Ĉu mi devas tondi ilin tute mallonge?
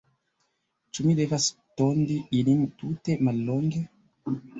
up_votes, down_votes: 2, 1